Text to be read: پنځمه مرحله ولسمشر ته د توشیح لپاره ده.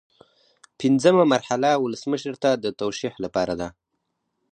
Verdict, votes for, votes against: accepted, 4, 0